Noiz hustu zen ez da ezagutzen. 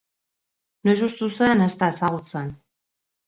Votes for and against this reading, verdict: 2, 1, accepted